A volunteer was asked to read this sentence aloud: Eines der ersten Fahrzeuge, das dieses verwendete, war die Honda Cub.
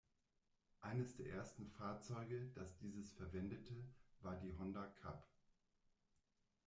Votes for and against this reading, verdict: 1, 2, rejected